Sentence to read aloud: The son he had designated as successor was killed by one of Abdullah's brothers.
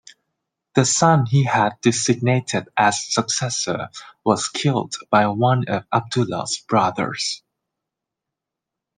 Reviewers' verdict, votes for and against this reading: accepted, 2, 0